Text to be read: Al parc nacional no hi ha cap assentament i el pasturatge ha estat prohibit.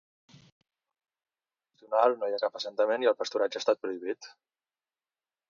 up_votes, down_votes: 1, 2